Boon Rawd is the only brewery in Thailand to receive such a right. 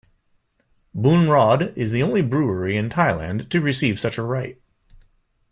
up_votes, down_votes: 2, 0